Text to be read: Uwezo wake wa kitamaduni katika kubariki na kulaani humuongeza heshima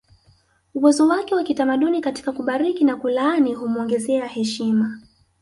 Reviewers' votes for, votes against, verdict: 1, 2, rejected